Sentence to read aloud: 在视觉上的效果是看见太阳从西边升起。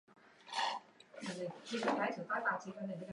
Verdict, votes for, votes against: rejected, 1, 5